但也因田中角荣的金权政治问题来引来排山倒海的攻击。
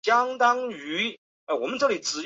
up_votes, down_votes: 0, 2